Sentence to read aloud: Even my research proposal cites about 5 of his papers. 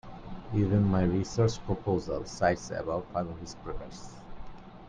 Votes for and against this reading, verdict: 0, 2, rejected